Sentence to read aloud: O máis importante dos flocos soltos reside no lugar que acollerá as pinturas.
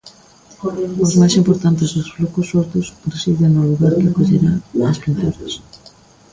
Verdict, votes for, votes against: rejected, 1, 2